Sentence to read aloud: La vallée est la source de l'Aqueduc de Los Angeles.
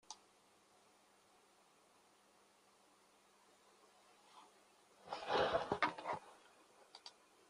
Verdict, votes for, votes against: rejected, 0, 2